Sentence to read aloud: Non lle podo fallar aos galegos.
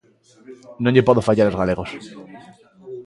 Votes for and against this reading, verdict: 2, 1, accepted